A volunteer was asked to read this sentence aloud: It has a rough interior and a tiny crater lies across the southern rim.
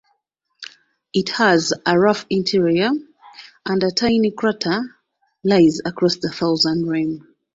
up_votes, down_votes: 2, 0